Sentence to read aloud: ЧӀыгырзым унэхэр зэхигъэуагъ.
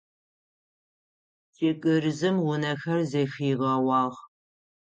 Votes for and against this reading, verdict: 0, 6, rejected